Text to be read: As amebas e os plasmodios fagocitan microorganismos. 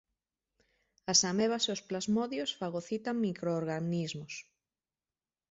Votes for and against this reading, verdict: 0, 2, rejected